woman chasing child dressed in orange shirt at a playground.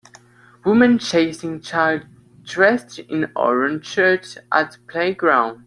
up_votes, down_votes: 0, 2